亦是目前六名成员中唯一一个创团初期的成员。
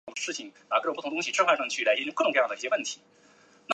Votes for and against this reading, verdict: 0, 2, rejected